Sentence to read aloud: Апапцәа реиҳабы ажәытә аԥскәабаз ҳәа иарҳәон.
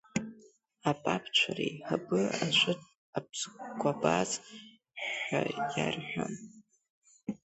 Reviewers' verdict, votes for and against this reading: rejected, 0, 3